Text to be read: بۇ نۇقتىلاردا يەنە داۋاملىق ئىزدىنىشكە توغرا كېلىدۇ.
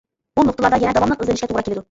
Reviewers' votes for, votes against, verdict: 0, 2, rejected